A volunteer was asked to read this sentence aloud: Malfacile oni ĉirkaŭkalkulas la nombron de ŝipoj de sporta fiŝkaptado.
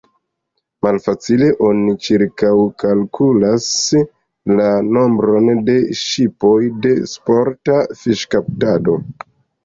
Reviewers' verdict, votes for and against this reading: accepted, 2, 0